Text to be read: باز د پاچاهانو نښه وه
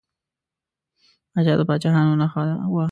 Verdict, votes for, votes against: rejected, 1, 2